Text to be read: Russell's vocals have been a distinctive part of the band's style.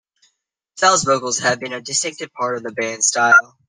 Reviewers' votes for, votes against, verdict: 0, 2, rejected